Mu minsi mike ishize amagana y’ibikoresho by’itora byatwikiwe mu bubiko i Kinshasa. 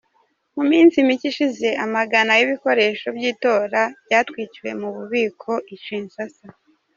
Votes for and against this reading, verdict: 2, 0, accepted